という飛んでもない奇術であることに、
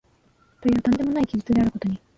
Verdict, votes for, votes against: rejected, 0, 2